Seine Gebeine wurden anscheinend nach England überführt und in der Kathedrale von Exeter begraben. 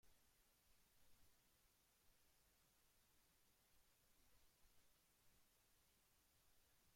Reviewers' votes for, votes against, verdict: 0, 2, rejected